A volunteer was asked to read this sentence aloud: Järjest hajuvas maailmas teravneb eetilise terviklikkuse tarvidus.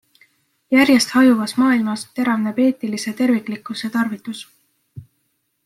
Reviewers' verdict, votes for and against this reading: accepted, 2, 0